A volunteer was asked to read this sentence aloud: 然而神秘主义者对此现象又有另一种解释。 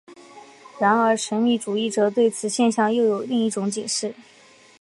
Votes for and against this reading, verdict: 3, 0, accepted